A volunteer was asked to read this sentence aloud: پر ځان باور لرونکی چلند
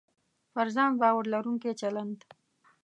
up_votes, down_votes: 1, 2